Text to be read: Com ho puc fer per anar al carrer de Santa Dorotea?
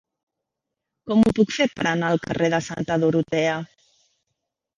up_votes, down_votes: 1, 2